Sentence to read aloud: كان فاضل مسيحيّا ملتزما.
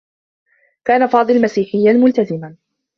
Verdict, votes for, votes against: accepted, 2, 0